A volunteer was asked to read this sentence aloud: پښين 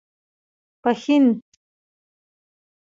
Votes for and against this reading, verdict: 3, 0, accepted